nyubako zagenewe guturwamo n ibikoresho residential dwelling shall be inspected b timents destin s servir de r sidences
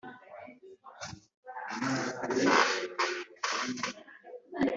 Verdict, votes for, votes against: rejected, 1, 2